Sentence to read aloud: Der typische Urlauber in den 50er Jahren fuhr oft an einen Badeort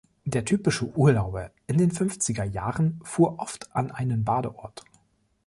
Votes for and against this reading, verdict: 0, 2, rejected